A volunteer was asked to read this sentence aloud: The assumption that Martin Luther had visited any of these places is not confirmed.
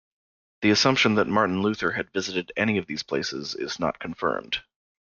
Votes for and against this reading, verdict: 2, 0, accepted